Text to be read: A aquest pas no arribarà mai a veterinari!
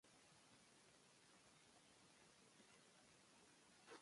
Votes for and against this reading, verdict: 0, 2, rejected